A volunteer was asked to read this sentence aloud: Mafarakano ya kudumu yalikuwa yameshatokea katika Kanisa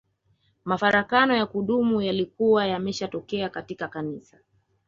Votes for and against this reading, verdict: 2, 0, accepted